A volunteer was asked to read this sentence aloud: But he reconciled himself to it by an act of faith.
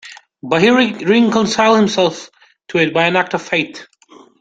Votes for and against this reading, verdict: 0, 2, rejected